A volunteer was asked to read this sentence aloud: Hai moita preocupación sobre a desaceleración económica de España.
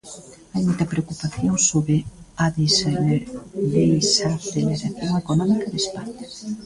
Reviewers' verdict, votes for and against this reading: rejected, 0, 4